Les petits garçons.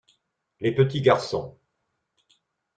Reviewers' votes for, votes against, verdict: 2, 0, accepted